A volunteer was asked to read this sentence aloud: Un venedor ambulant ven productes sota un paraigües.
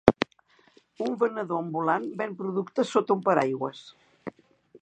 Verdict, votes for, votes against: accepted, 2, 0